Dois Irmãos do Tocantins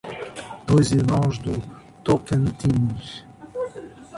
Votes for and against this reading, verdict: 1, 2, rejected